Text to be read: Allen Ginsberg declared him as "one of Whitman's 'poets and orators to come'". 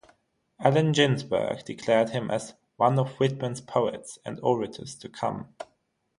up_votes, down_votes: 3, 3